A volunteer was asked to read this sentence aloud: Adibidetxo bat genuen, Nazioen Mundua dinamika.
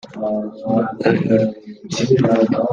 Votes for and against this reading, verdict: 0, 2, rejected